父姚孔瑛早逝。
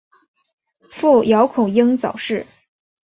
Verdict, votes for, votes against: accepted, 2, 0